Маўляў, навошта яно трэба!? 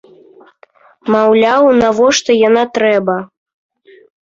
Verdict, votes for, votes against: accepted, 2, 0